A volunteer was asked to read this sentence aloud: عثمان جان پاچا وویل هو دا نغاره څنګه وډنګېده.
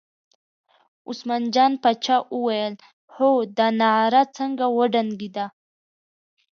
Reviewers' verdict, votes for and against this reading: accepted, 2, 0